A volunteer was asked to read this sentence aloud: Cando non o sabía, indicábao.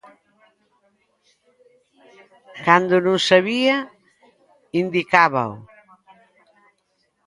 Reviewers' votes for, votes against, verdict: 0, 2, rejected